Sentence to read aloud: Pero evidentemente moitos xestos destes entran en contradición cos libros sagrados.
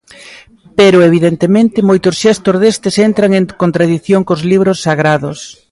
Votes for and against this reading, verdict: 2, 0, accepted